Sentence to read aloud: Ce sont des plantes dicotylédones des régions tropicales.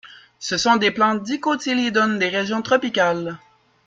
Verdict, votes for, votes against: accepted, 2, 1